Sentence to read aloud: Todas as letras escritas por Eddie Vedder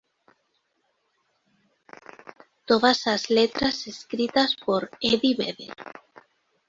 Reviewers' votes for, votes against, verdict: 2, 0, accepted